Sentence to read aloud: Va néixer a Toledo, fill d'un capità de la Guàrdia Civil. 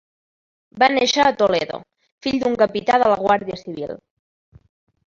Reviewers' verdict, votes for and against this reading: rejected, 0, 2